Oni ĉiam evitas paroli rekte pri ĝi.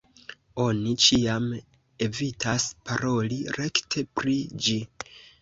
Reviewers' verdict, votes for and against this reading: accepted, 2, 1